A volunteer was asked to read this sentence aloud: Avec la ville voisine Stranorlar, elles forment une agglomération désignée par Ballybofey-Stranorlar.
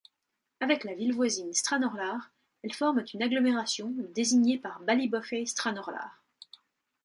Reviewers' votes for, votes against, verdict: 2, 0, accepted